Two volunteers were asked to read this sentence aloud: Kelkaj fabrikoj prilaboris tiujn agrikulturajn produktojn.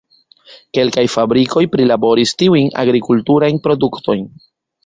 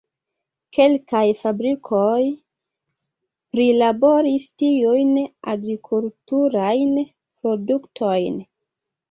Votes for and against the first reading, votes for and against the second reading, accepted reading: 1, 2, 2, 0, second